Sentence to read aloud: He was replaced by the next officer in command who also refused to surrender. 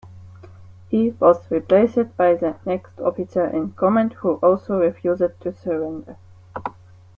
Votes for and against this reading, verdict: 1, 2, rejected